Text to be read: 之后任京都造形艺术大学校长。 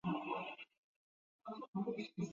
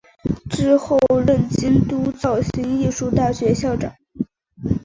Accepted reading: second